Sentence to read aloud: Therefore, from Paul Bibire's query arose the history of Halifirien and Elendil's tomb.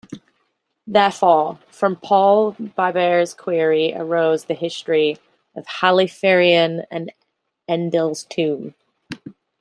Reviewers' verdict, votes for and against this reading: rejected, 0, 2